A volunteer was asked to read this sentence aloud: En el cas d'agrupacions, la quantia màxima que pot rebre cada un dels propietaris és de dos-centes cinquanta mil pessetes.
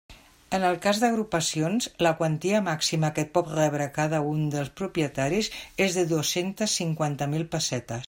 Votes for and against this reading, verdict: 2, 0, accepted